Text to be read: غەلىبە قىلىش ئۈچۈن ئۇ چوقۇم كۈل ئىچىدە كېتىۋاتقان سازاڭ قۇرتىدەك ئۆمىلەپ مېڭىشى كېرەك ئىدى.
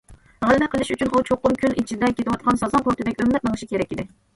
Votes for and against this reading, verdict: 1, 2, rejected